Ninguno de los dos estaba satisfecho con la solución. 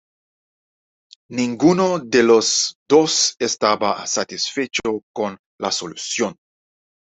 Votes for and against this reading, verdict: 1, 2, rejected